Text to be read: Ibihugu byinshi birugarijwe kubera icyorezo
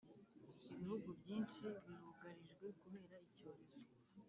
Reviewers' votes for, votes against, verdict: 1, 2, rejected